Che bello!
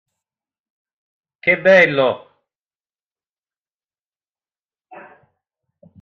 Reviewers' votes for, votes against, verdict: 2, 0, accepted